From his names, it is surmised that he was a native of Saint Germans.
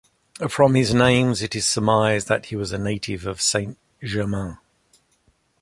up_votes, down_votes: 2, 0